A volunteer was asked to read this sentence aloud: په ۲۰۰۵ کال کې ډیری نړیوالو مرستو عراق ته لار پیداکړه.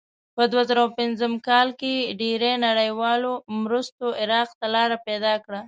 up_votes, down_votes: 0, 2